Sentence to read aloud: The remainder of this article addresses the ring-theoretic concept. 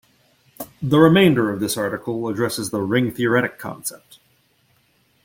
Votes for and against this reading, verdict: 2, 1, accepted